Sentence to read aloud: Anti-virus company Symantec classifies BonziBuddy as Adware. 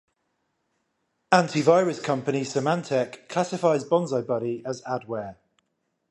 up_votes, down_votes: 5, 0